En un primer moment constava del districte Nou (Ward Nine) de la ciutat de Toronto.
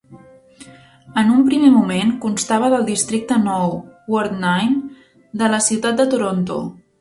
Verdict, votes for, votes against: accepted, 3, 0